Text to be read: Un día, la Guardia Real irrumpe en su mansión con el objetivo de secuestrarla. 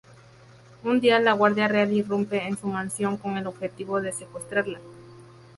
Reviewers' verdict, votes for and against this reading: rejected, 2, 2